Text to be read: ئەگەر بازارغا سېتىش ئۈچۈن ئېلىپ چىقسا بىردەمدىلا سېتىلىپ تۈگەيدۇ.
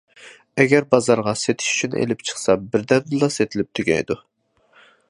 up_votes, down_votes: 2, 0